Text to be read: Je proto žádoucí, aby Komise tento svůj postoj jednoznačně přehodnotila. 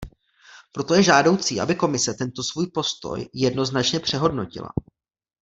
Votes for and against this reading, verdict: 0, 2, rejected